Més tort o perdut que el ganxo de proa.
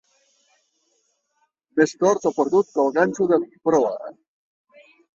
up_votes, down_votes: 2, 0